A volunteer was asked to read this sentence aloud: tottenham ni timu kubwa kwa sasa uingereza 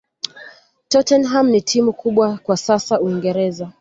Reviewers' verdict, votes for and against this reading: accepted, 2, 0